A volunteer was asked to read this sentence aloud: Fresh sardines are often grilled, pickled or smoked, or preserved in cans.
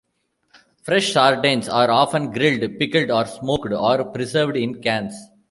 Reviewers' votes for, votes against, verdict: 1, 2, rejected